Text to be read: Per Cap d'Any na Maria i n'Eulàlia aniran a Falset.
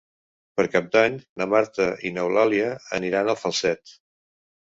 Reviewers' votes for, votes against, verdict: 0, 3, rejected